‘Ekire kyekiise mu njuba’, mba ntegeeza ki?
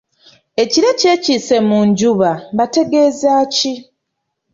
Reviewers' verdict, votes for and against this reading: rejected, 0, 2